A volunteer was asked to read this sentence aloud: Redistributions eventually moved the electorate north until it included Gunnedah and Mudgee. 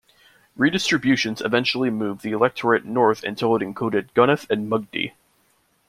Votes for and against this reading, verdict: 1, 2, rejected